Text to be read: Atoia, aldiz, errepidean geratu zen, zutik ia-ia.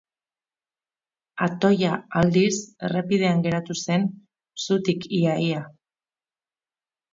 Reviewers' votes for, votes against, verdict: 2, 0, accepted